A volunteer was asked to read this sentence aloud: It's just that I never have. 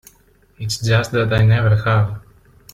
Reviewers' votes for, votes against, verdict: 2, 1, accepted